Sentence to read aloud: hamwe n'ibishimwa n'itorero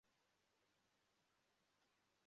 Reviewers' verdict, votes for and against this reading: rejected, 0, 2